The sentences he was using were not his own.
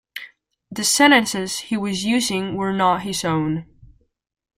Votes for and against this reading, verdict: 2, 0, accepted